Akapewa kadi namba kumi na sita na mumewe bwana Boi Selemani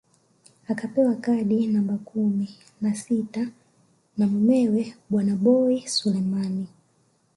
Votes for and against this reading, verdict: 2, 0, accepted